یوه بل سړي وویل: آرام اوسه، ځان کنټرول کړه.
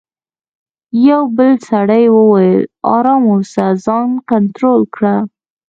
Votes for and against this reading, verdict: 1, 2, rejected